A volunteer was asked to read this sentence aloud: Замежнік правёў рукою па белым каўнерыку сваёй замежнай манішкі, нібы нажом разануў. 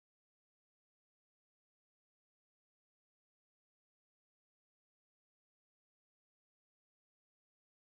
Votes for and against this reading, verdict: 0, 2, rejected